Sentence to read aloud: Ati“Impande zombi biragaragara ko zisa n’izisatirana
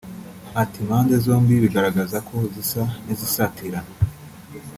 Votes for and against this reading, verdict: 1, 2, rejected